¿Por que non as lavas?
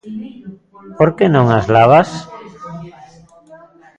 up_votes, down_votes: 0, 2